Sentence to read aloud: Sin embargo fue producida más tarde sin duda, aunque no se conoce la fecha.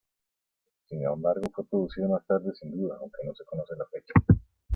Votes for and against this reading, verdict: 2, 1, accepted